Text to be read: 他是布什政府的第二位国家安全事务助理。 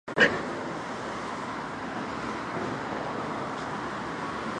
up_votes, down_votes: 0, 4